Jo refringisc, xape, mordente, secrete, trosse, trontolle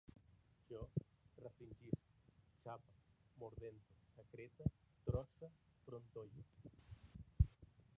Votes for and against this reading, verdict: 0, 2, rejected